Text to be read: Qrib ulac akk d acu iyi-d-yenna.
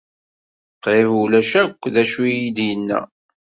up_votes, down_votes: 2, 0